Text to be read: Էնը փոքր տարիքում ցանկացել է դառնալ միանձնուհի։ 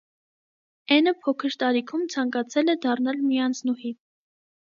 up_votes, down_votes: 2, 0